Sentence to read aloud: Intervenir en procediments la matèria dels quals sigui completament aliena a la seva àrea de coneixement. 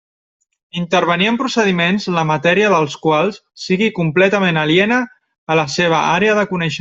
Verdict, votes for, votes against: rejected, 0, 2